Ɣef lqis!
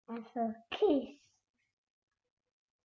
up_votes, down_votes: 1, 2